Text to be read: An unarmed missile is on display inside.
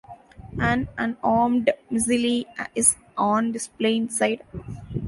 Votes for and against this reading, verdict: 0, 2, rejected